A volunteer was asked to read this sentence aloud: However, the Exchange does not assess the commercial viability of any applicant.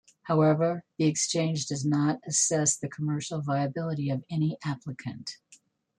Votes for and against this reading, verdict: 1, 2, rejected